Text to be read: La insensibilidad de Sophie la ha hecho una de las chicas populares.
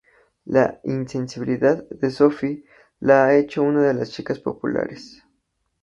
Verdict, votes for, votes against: accepted, 2, 0